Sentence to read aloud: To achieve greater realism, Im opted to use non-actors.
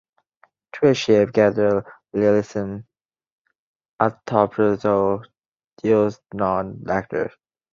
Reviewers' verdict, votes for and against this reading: rejected, 0, 3